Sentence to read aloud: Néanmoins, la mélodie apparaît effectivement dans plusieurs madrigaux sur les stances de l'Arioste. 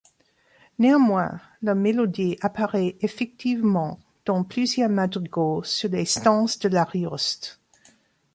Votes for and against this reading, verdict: 2, 1, accepted